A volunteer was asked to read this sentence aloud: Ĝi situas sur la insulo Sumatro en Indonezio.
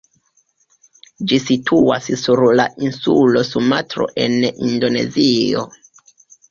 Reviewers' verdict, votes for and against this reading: rejected, 1, 2